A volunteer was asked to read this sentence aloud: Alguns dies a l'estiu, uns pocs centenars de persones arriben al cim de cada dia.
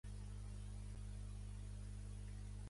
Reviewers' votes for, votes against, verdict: 0, 2, rejected